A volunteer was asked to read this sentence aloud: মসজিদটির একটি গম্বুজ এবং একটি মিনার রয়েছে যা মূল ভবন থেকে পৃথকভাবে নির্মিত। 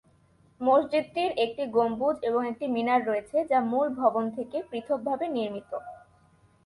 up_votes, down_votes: 6, 0